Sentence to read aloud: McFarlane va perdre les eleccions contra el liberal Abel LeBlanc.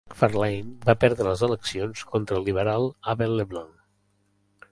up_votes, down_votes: 0, 2